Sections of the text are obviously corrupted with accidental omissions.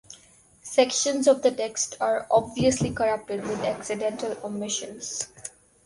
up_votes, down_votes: 2, 2